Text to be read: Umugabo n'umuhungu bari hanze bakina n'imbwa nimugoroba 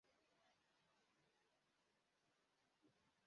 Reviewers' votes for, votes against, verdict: 0, 2, rejected